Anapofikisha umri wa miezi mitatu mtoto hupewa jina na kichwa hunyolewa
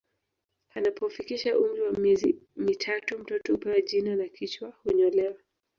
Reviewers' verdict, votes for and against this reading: rejected, 1, 2